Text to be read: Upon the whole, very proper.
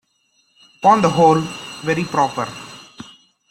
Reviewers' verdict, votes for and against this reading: rejected, 1, 2